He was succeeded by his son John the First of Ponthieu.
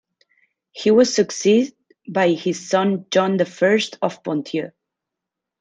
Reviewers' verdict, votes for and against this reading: accepted, 2, 1